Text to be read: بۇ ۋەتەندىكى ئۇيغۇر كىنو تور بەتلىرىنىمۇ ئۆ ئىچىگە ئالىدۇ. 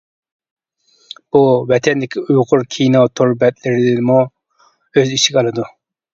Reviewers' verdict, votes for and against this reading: rejected, 0, 2